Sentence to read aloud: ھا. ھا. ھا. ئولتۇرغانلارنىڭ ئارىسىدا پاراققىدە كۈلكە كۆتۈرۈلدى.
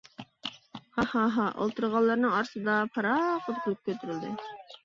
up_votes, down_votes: 1, 2